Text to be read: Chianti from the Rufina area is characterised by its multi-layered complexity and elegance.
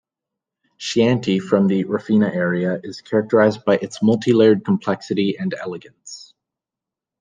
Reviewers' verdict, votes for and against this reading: accepted, 2, 0